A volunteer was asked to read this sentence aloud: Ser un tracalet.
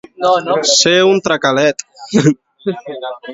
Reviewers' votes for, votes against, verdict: 3, 2, accepted